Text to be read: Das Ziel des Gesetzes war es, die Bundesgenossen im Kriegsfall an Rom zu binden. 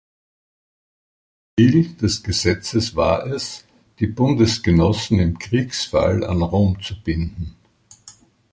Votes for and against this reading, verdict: 0, 2, rejected